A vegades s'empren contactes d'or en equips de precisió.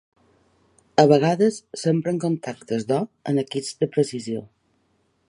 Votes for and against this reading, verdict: 4, 0, accepted